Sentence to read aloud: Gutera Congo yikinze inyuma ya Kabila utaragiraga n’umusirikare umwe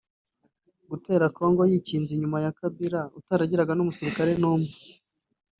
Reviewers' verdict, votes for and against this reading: rejected, 0, 2